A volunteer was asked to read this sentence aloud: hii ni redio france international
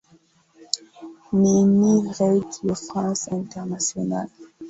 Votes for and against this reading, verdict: 0, 2, rejected